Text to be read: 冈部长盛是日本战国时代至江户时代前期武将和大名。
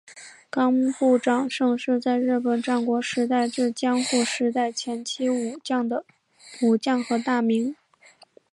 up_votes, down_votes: 1, 2